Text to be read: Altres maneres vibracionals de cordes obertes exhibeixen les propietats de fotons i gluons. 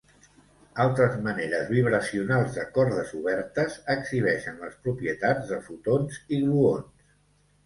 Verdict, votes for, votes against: accepted, 2, 0